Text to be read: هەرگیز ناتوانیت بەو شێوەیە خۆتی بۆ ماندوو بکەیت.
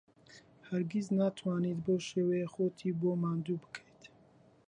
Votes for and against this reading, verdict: 2, 0, accepted